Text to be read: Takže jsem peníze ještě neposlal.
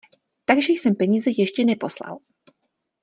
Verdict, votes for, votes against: accepted, 2, 0